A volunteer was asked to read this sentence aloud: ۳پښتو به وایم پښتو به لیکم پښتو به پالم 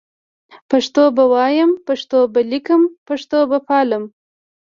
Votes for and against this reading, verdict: 0, 2, rejected